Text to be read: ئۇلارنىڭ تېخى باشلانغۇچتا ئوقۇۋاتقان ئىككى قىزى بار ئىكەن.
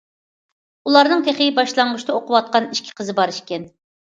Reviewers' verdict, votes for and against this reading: accepted, 2, 0